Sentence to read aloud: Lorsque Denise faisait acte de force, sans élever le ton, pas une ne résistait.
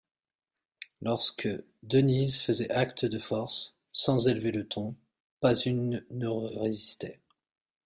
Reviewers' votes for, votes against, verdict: 1, 2, rejected